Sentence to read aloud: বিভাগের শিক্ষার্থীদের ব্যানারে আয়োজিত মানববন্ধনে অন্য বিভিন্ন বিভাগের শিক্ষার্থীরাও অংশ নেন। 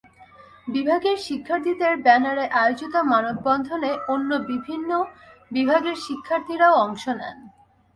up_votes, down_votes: 0, 2